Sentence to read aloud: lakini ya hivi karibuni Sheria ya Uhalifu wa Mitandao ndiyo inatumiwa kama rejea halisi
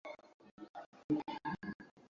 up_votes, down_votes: 0, 2